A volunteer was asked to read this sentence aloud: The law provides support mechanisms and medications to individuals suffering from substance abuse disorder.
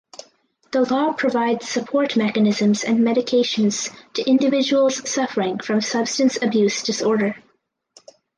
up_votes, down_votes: 2, 0